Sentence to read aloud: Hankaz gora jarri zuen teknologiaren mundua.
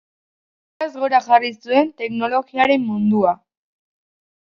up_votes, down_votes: 0, 2